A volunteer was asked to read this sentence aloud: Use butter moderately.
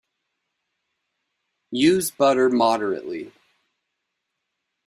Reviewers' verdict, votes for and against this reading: accepted, 2, 0